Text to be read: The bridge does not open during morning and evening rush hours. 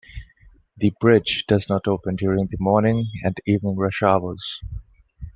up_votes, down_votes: 1, 2